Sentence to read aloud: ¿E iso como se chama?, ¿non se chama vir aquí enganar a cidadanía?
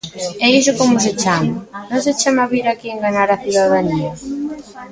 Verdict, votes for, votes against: accepted, 3, 0